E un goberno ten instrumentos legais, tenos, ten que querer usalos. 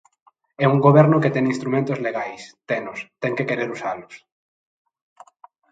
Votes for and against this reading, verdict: 0, 2, rejected